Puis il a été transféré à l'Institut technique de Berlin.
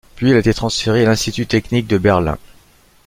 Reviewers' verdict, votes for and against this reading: rejected, 0, 2